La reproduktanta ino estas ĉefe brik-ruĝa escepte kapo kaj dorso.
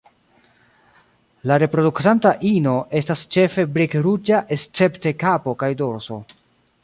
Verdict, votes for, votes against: accepted, 2, 1